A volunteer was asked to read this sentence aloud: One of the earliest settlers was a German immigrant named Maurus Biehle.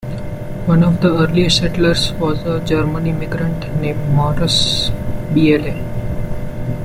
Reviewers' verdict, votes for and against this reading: accepted, 2, 0